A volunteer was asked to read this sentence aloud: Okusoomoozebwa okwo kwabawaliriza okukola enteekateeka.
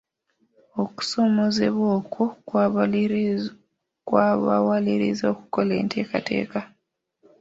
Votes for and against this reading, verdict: 1, 2, rejected